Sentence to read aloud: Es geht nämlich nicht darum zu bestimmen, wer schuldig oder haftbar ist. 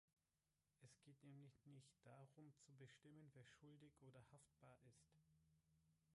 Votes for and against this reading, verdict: 2, 4, rejected